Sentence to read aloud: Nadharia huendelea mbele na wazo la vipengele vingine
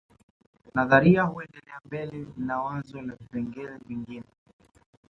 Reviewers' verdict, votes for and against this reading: accepted, 2, 0